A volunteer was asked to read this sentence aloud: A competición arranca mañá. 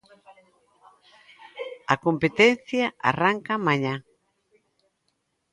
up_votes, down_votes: 0, 2